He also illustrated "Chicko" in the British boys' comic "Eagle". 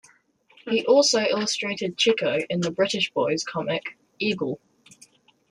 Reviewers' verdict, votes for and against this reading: accepted, 2, 0